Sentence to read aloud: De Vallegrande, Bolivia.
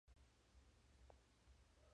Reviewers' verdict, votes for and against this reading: rejected, 0, 2